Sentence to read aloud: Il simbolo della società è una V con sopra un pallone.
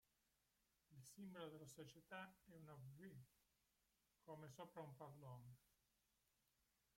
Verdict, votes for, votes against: rejected, 1, 2